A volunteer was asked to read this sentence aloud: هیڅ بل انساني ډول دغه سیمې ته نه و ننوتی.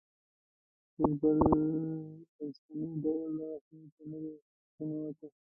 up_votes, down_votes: 1, 2